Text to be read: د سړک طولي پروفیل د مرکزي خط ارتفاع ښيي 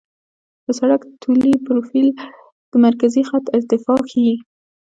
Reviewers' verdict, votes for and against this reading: accepted, 2, 0